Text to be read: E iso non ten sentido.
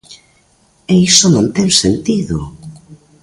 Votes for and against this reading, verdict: 2, 0, accepted